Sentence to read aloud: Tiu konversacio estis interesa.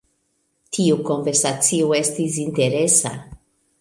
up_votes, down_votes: 2, 1